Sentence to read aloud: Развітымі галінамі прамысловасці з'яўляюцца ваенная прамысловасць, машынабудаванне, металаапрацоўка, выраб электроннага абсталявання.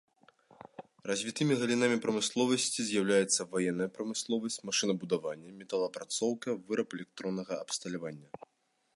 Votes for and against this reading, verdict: 2, 0, accepted